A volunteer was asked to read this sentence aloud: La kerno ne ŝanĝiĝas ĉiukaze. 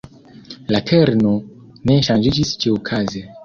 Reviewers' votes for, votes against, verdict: 1, 2, rejected